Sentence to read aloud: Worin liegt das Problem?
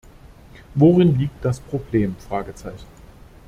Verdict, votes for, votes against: rejected, 0, 2